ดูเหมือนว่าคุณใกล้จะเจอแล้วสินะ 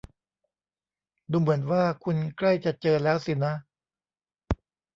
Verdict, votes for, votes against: accepted, 2, 0